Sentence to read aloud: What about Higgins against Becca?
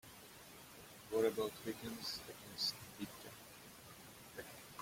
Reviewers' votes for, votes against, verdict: 0, 2, rejected